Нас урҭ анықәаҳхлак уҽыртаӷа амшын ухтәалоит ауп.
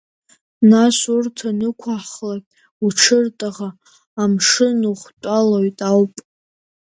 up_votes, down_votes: 2, 0